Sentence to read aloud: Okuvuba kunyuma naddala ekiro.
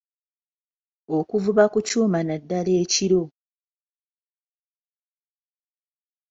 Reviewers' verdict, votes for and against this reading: rejected, 1, 2